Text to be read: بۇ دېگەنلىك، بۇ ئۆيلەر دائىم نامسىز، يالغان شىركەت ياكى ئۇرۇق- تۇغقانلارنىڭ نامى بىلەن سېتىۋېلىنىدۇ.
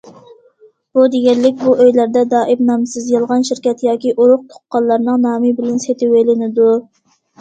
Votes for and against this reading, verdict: 0, 2, rejected